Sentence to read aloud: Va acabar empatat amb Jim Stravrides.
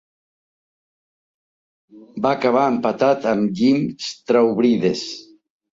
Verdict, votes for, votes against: accepted, 2, 0